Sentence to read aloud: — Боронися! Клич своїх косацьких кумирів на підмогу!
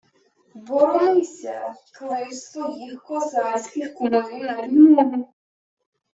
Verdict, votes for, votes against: rejected, 0, 2